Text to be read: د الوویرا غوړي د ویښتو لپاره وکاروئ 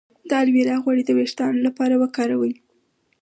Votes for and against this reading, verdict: 4, 2, accepted